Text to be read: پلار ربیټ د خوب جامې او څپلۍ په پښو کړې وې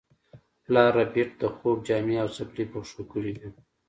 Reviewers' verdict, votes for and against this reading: accepted, 2, 0